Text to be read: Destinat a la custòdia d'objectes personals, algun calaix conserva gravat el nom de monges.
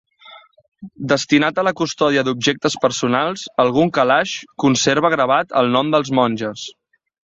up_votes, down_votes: 1, 2